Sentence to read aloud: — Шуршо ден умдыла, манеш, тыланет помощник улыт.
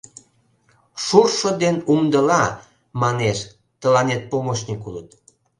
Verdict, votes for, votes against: accepted, 2, 0